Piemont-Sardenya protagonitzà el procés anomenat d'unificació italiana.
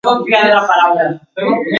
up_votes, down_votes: 0, 2